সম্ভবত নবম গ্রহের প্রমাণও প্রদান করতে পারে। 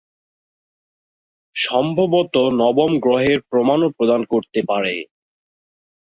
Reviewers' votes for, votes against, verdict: 7, 1, accepted